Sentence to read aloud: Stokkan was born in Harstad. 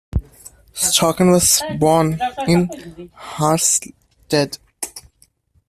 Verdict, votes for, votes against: rejected, 0, 2